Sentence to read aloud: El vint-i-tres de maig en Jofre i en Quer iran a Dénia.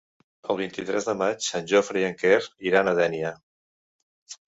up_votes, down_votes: 2, 0